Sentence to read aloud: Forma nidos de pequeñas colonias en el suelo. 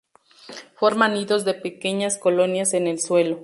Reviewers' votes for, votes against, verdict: 2, 0, accepted